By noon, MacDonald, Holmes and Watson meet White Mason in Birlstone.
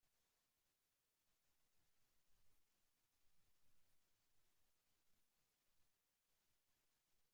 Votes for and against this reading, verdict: 0, 2, rejected